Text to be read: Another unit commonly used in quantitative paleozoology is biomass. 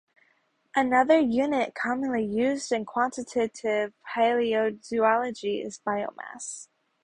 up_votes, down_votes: 0, 2